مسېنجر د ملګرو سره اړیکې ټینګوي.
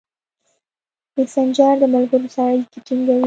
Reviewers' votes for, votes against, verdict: 2, 0, accepted